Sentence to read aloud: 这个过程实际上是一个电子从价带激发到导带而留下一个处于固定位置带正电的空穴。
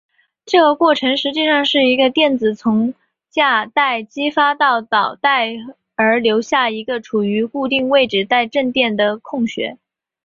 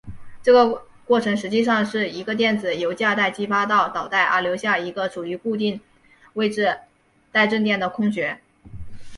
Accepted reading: second